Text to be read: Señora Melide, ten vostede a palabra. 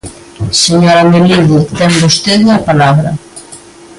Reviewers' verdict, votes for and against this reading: accepted, 2, 0